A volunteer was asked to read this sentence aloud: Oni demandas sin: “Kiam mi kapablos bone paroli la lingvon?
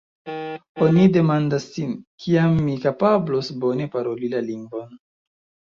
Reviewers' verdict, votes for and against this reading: rejected, 0, 2